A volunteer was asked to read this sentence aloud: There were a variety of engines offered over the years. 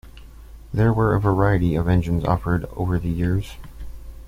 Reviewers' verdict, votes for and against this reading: accepted, 2, 0